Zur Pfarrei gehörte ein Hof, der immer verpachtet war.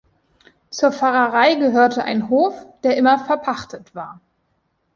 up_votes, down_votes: 1, 2